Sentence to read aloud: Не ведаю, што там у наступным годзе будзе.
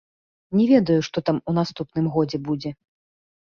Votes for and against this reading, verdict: 2, 0, accepted